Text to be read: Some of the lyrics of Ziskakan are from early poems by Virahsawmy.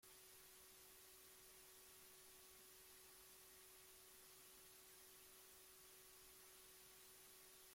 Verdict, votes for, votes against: rejected, 0, 2